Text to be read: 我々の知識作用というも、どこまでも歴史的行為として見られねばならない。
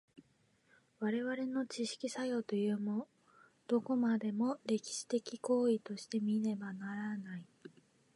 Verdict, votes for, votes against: rejected, 1, 2